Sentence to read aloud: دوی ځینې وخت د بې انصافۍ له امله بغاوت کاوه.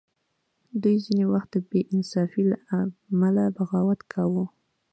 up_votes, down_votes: 2, 0